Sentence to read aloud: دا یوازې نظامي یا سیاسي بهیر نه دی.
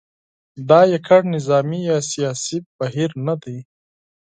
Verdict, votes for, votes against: rejected, 0, 8